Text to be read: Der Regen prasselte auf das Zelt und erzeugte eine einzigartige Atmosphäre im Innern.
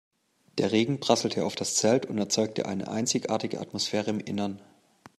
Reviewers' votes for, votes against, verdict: 2, 0, accepted